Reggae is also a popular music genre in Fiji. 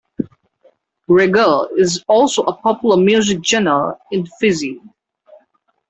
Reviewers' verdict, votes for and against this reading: rejected, 0, 2